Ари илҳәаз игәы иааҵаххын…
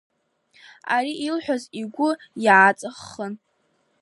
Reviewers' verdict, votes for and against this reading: accepted, 2, 1